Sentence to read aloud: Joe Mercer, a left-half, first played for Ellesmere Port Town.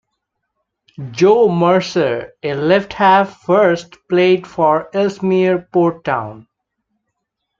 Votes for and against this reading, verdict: 2, 0, accepted